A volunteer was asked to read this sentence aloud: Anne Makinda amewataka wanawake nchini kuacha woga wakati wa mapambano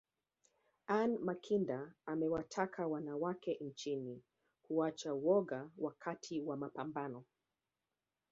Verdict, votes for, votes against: rejected, 1, 2